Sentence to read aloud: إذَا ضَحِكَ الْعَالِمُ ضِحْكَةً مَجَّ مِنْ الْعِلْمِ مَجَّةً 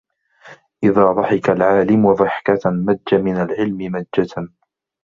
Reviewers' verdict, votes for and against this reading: accepted, 2, 0